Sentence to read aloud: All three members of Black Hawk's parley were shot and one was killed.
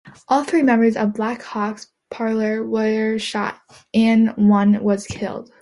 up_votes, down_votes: 2, 1